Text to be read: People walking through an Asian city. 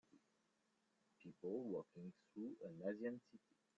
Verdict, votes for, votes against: rejected, 1, 2